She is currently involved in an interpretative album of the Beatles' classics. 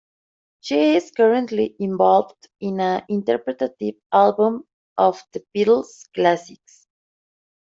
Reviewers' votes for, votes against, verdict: 2, 0, accepted